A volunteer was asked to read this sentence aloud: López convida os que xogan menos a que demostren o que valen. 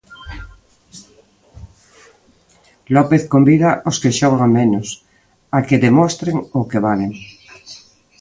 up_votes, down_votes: 2, 1